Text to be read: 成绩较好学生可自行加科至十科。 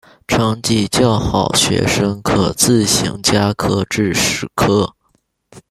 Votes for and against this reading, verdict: 0, 2, rejected